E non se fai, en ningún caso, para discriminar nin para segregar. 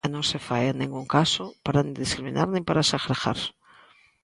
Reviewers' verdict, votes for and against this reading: rejected, 0, 2